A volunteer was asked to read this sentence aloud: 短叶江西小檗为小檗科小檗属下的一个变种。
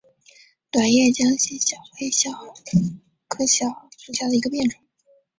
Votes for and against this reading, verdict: 6, 2, accepted